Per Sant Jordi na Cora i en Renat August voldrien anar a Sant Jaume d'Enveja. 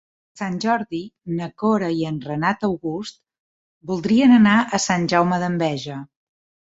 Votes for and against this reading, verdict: 0, 2, rejected